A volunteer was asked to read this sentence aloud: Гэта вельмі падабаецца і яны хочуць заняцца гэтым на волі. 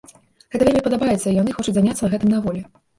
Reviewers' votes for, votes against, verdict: 1, 2, rejected